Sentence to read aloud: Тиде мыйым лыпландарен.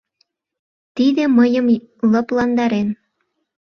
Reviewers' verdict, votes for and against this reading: rejected, 0, 2